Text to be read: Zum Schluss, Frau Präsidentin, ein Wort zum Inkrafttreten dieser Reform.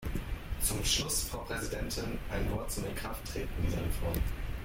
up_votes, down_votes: 0, 2